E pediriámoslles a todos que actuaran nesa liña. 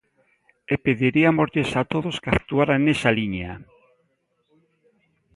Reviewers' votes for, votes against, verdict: 1, 2, rejected